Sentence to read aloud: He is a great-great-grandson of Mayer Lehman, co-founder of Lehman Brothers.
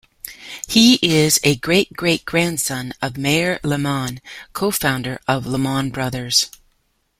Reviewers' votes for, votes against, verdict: 2, 1, accepted